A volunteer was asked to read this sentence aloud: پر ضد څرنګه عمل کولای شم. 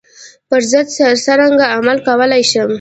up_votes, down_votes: 2, 0